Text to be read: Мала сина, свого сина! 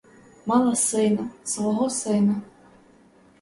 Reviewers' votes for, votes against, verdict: 4, 0, accepted